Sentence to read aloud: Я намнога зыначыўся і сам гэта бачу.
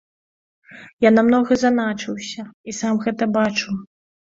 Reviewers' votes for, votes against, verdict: 0, 2, rejected